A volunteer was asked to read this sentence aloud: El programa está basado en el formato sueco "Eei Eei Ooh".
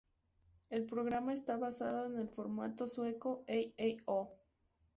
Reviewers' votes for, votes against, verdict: 2, 2, rejected